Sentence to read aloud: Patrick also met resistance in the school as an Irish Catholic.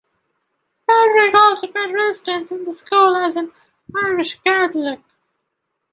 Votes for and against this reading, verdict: 0, 2, rejected